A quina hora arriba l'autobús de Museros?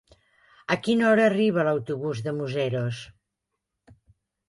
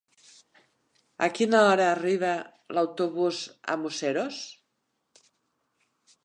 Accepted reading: first